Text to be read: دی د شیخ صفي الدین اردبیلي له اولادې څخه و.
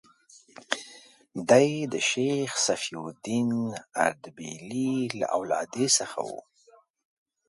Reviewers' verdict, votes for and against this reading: accepted, 6, 0